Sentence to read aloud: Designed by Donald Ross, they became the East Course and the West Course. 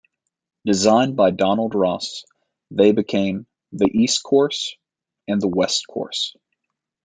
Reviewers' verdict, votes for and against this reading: accepted, 2, 0